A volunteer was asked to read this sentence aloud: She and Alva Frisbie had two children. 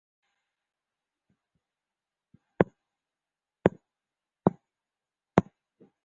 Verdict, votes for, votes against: rejected, 0, 2